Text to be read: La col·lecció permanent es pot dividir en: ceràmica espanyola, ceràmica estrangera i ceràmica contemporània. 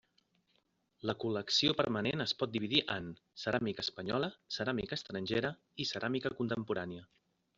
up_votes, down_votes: 3, 0